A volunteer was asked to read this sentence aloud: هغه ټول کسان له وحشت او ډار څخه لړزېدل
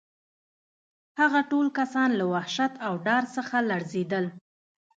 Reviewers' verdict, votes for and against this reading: accepted, 2, 0